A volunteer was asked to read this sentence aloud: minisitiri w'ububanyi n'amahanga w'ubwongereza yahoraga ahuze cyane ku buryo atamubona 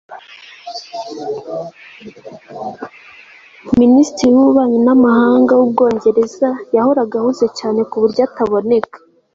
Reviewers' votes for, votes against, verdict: 1, 2, rejected